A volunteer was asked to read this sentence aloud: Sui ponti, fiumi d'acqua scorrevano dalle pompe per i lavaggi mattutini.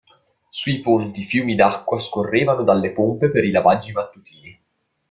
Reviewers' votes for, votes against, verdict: 2, 0, accepted